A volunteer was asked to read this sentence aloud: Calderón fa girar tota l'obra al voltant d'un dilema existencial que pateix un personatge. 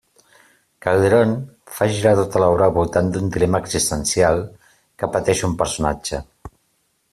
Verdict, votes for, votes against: accepted, 2, 0